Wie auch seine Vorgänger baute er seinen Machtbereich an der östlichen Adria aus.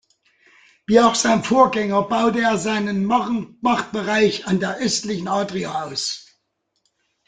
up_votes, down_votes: 0, 2